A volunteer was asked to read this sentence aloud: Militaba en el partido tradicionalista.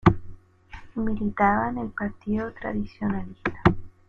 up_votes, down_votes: 1, 2